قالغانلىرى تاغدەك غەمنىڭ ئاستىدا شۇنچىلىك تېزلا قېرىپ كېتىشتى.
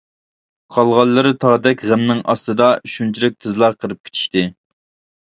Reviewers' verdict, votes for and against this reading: accepted, 2, 1